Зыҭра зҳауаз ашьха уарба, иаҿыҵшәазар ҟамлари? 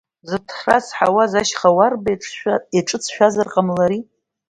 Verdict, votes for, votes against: rejected, 0, 2